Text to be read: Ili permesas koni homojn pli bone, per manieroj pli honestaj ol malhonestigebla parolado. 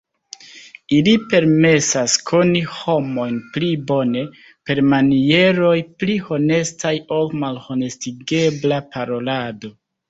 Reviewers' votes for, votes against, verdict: 2, 1, accepted